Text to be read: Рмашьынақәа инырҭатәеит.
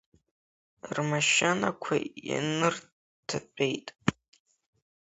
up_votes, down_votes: 1, 2